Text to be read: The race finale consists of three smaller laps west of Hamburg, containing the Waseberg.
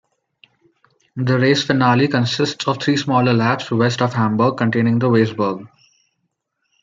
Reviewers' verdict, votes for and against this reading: rejected, 0, 2